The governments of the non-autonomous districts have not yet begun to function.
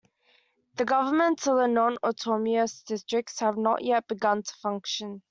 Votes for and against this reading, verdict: 0, 2, rejected